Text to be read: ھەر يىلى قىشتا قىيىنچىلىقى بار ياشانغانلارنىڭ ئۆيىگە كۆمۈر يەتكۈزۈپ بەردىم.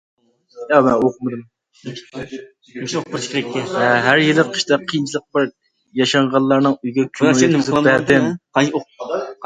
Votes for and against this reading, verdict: 0, 2, rejected